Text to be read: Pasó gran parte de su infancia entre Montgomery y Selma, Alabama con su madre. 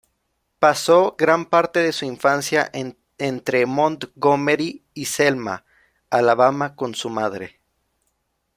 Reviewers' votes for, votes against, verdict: 0, 2, rejected